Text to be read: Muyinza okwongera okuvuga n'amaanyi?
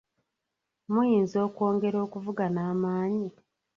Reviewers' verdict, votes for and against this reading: rejected, 1, 2